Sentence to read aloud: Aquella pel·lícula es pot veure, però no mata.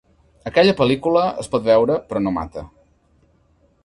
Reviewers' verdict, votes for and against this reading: accepted, 3, 0